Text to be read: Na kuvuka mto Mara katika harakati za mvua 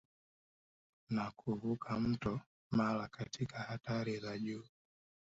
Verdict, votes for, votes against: rejected, 1, 2